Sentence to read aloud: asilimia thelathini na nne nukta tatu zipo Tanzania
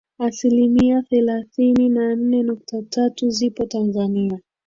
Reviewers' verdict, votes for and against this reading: accepted, 2, 1